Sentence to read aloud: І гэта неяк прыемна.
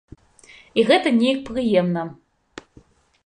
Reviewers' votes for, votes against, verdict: 2, 0, accepted